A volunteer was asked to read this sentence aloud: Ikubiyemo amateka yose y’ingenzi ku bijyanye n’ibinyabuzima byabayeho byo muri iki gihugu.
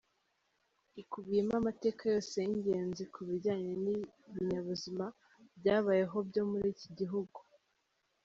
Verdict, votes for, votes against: accepted, 2, 0